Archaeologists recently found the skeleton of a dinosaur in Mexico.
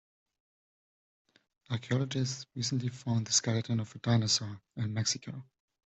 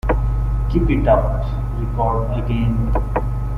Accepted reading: first